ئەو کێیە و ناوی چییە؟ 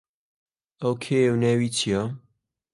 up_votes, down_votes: 3, 0